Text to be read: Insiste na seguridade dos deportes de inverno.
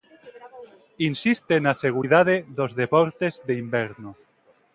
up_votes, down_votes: 2, 0